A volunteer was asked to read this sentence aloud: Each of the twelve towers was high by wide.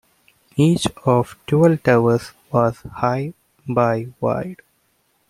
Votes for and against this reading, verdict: 1, 2, rejected